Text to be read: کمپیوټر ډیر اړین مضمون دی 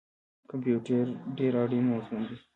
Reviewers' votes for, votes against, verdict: 0, 2, rejected